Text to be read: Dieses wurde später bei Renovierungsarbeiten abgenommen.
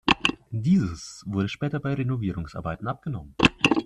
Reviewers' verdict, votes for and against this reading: accepted, 2, 0